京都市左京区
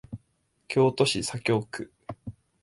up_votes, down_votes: 6, 0